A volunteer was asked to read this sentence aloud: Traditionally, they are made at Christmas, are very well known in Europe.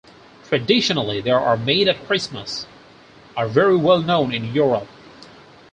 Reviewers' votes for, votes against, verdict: 4, 0, accepted